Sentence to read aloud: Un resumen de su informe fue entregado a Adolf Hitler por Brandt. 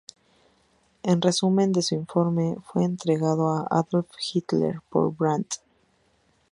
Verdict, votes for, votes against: rejected, 2, 2